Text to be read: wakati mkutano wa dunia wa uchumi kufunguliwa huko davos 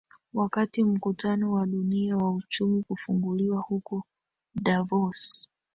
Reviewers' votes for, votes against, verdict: 0, 2, rejected